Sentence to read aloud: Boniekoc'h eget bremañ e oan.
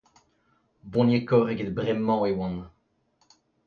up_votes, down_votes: 2, 1